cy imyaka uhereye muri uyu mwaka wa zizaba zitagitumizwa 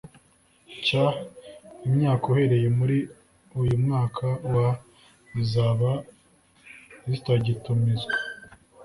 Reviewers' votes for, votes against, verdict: 2, 0, accepted